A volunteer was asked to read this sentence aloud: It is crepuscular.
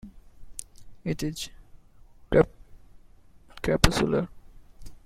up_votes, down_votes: 0, 2